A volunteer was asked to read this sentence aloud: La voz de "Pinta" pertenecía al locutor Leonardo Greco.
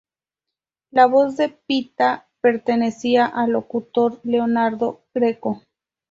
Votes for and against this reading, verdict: 0, 4, rejected